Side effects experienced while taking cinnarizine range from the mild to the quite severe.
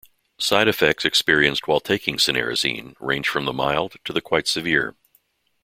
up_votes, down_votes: 2, 0